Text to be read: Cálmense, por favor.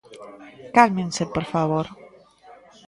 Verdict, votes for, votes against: rejected, 1, 2